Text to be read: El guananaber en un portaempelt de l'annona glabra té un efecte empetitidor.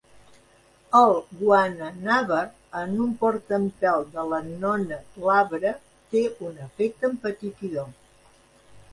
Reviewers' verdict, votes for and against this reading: accepted, 2, 0